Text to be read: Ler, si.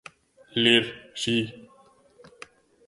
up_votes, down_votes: 1, 2